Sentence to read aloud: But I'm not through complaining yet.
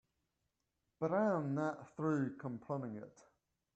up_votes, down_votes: 2, 0